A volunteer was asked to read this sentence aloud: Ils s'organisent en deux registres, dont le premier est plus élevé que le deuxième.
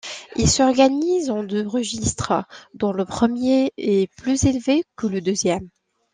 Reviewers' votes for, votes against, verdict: 2, 1, accepted